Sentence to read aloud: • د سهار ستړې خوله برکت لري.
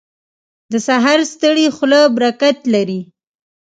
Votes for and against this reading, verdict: 2, 1, accepted